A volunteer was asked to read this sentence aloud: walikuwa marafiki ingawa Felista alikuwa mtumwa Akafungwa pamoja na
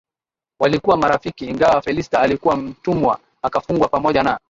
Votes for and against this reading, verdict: 1, 2, rejected